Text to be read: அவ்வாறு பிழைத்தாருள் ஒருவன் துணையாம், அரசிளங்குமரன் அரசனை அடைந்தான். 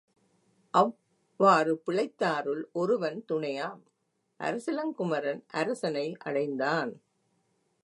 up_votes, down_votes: 2, 0